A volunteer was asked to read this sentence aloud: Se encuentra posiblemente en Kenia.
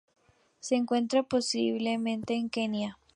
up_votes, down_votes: 2, 0